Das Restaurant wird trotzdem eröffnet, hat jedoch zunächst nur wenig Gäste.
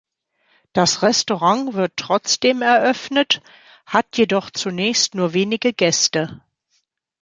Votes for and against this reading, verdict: 0, 2, rejected